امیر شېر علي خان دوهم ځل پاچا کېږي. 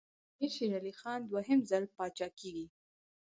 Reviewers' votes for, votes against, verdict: 4, 2, accepted